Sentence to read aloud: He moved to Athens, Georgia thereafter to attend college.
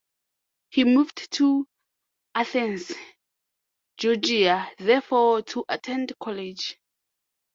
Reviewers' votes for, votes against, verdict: 0, 3, rejected